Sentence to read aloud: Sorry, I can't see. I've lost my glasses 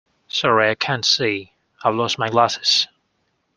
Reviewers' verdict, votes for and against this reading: accepted, 2, 0